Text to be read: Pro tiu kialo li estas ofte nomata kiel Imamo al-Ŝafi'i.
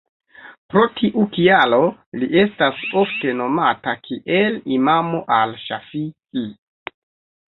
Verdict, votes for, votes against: rejected, 1, 2